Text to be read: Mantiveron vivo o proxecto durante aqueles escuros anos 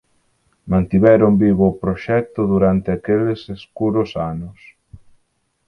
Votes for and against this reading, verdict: 4, 0, accepted